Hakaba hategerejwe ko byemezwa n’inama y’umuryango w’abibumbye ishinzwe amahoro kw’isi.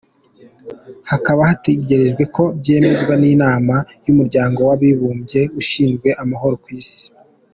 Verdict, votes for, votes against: accepted, 2, 0